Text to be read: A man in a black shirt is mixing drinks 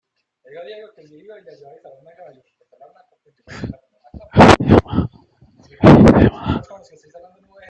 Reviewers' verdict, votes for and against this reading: rejected, 0, 2